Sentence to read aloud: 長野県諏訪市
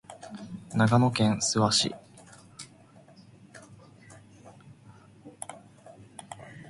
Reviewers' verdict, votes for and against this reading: accepted, 2, 0